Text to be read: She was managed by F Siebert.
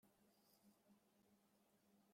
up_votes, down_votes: 0, 2